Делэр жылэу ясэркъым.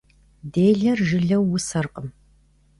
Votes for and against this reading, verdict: 1, 2, rejected